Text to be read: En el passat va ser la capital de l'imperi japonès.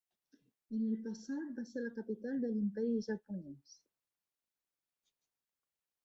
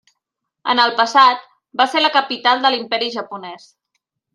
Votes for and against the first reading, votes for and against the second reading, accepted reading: 0, 2, 3, 0, second